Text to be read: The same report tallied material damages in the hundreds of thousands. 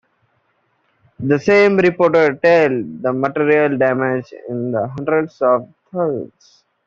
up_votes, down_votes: 1, 2